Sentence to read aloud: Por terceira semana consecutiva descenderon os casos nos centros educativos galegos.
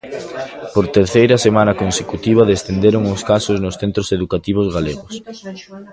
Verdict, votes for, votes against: rejected, 1, 2